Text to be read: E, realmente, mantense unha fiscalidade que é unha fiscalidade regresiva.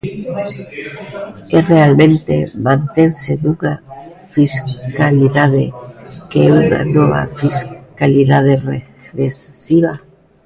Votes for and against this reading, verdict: 0, 2, rejected